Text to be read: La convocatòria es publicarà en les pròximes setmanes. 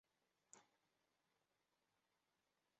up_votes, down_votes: 0, 2